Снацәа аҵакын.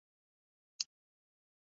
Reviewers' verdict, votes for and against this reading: rejected, 1, 2